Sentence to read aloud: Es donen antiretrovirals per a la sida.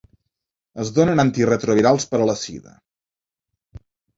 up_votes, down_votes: 4, 0